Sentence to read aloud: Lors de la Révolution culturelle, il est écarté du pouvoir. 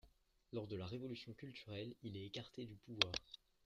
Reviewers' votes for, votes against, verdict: 0, 2, rejected